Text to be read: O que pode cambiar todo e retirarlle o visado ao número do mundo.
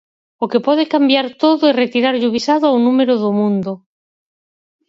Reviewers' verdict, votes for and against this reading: accepted, 4, 0